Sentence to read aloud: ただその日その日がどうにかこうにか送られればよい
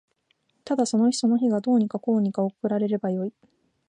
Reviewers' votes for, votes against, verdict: 2, 0, accepted